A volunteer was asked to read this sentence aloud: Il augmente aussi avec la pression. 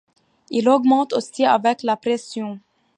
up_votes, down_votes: 2, 0